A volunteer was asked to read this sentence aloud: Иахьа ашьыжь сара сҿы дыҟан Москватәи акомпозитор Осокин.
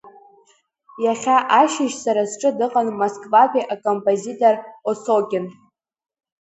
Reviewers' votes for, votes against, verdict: 3, 0, accepted